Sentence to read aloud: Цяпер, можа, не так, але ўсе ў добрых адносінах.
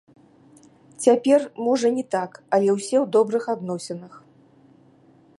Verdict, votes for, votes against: rejected, 1, 2